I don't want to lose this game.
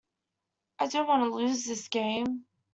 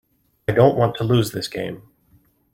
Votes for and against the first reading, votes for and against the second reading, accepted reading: 1, 2, 2, 0, second